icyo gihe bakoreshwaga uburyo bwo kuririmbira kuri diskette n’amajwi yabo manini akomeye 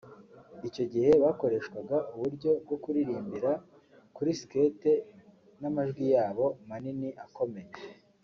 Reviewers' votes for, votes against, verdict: 1, 2, rejected